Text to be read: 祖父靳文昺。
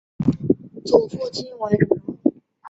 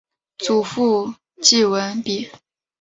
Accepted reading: second